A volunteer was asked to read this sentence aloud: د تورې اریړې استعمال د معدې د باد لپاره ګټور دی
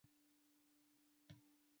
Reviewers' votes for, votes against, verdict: 0, 2, rejected